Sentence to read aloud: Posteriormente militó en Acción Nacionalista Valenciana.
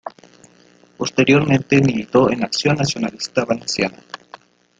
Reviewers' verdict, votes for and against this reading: accepted, 2, 0